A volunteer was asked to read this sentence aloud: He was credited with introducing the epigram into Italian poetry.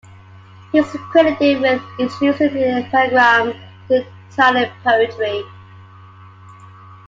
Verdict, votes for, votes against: rejected, 0, 2